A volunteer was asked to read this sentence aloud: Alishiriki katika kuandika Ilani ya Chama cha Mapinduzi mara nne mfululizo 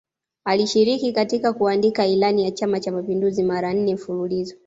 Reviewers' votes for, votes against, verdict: 2, 0, accepted